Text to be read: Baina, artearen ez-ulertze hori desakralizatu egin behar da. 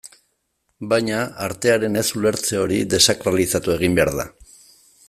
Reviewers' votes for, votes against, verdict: 2, 0, accepted